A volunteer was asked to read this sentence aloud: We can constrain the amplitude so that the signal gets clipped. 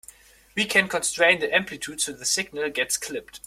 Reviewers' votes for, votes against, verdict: 0, 2, rejected